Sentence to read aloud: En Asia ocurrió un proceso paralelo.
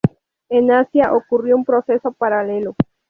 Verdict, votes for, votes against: accepted, 2, 0